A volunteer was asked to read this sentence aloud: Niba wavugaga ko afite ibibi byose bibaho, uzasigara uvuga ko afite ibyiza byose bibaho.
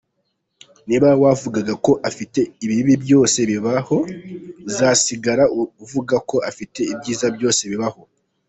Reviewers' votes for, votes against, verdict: 2, 0, accepted